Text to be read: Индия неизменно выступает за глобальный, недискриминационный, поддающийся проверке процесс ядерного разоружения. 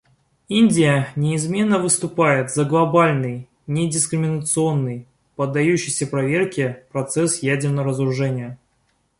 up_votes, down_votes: 0, 2